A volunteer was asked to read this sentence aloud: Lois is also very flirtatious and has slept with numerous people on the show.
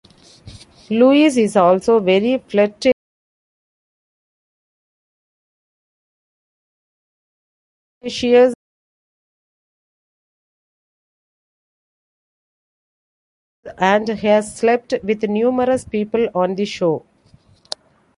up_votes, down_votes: 1, 2